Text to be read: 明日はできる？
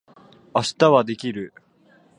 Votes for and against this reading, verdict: 2, 0, accepted